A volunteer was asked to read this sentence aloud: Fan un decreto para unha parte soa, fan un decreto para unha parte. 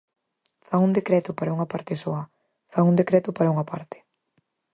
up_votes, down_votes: 4, 0